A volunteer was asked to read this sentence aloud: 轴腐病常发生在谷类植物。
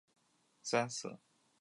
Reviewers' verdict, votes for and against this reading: rejected, 0, 2